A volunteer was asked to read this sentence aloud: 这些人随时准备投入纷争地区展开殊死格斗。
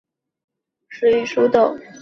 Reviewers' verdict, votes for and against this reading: rejected, 0, 2